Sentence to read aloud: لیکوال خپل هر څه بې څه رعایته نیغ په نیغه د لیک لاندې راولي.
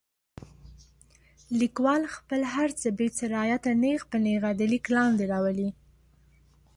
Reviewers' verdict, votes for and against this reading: accepted, 2, 0